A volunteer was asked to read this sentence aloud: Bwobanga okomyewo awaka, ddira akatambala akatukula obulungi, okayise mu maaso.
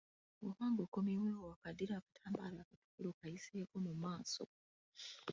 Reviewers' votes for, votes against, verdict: 1, 2, rejected